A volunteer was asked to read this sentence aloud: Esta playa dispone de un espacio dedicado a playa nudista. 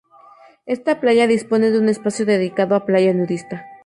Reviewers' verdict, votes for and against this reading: accepted, 2, 0